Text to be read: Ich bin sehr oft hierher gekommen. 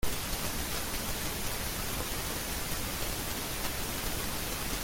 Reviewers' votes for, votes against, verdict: 0, 2, rejected